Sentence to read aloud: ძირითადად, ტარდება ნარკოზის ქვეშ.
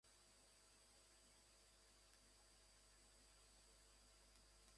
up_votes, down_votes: 1, 2